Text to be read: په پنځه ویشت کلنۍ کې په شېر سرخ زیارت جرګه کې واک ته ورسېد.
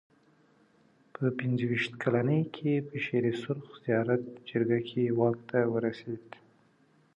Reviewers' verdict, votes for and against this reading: accepted, 2, 0